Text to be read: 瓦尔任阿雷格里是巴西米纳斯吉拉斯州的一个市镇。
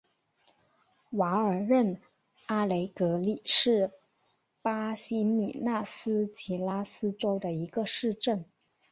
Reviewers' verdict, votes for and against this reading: accepted, 3, 1